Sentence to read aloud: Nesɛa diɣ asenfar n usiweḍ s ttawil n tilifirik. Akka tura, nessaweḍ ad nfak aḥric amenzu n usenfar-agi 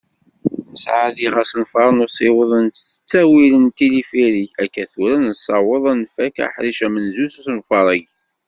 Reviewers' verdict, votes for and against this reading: rejected, 1, 2